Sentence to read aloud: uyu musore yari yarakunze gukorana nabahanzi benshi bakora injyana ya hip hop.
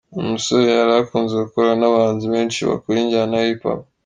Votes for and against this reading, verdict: 2, 0, accepted